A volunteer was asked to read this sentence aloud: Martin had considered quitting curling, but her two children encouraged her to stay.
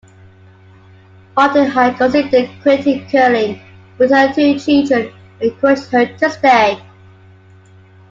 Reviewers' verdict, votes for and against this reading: accepted, 2, 0